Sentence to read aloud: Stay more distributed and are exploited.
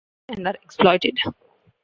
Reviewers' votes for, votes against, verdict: 0, 2, rejected